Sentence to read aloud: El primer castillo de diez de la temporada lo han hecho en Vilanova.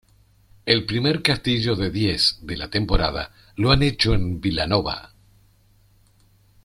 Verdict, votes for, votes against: accepted, 2, 0